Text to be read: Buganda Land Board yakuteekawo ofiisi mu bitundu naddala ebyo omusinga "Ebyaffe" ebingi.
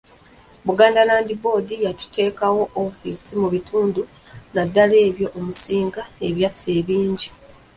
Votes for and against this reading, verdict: 1, 2, rejected